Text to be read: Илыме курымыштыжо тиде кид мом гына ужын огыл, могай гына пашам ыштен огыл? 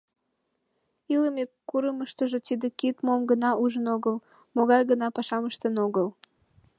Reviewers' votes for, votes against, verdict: 2, 0, accepted